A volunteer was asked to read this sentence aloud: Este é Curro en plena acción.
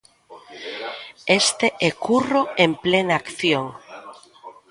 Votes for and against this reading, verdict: 2, 0, accepted